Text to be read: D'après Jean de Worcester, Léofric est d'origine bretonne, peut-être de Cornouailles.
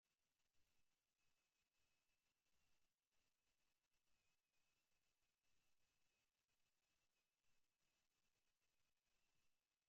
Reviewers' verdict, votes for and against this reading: rejected, 0, 2